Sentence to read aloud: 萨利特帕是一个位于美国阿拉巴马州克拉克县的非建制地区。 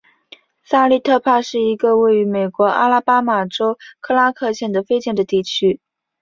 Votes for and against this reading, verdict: 2, 0, accepted